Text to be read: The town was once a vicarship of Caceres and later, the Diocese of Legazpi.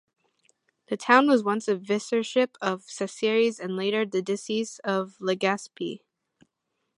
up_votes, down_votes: 0, 2